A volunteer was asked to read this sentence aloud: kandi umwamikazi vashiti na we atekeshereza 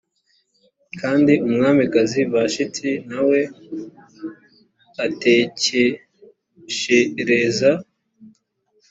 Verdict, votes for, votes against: accepted, 2, 0